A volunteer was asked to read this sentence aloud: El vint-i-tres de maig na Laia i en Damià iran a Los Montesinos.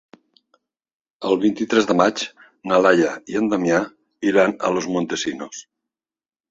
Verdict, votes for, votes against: accepted, 3, 0